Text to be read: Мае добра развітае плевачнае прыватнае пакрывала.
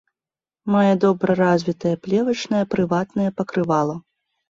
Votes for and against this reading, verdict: 2, 0, accepted